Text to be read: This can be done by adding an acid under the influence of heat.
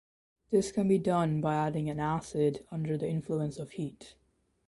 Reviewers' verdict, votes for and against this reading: accepted, 2, 0